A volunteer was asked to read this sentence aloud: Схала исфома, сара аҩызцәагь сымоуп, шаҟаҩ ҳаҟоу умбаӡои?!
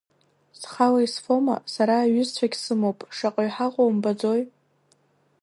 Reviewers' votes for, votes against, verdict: 2, 1, accepted